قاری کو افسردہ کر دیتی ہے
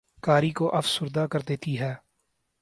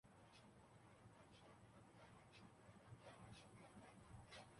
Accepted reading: first